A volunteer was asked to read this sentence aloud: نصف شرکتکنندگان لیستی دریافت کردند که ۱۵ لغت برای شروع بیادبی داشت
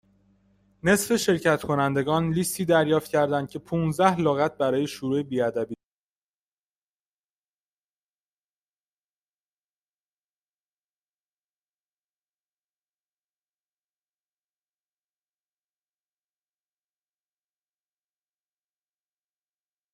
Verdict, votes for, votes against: rejected, 0, 2